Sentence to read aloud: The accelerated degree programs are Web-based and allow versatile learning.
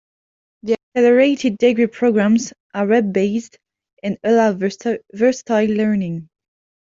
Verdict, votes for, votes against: rejected, 1, 2